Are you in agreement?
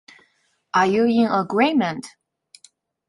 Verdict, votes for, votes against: accepted, 2, 0